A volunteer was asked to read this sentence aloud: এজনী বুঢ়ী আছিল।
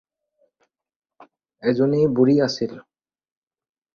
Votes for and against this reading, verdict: 4, 0, accepted